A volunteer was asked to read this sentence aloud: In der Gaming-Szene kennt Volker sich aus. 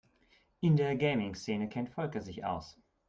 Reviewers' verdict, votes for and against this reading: accepted, 2, 0